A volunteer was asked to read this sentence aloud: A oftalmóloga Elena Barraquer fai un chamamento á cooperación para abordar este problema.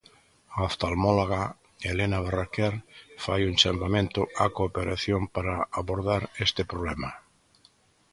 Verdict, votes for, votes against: accepted, 2, 0